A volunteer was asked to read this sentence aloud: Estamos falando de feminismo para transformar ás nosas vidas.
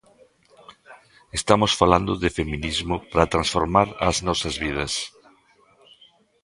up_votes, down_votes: 2, 0